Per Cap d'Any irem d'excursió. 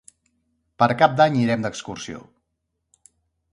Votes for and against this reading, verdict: 3, 0, accepted